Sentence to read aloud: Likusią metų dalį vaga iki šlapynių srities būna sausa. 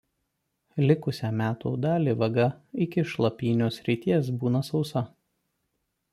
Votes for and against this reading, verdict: 2, 0, accepted